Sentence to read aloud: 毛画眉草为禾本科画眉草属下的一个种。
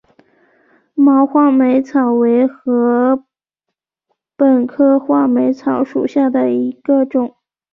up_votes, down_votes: 4, 0